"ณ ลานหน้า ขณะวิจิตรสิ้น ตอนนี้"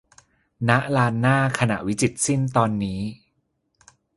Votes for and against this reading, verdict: 4, 0, accepted